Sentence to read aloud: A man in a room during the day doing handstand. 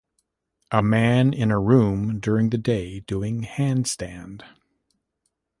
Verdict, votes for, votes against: accepted, 2, 1